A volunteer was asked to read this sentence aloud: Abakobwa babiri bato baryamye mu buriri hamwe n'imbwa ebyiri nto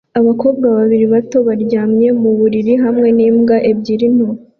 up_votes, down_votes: 2, 0